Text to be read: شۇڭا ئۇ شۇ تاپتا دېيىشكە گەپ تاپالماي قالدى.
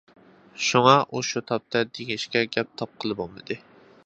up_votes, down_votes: 0, 2